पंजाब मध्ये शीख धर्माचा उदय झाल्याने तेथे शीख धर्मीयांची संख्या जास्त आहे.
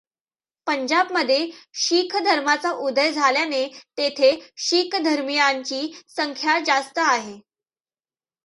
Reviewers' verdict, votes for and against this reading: accepted, 2, 0